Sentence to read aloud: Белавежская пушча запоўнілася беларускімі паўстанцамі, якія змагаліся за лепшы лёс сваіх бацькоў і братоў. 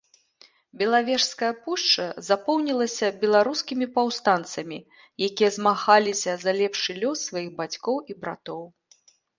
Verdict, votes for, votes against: accepted, 2, 0